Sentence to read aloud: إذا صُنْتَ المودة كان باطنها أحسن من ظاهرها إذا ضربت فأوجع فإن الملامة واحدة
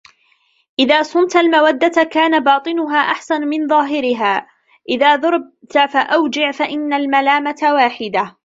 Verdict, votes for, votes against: rejected, 1, 2